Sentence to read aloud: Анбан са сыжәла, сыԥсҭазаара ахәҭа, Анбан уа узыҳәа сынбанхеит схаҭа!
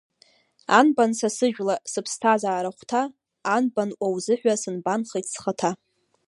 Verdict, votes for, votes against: accepted, 2, 0